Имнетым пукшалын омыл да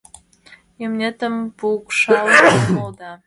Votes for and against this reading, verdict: 0, 2, rejected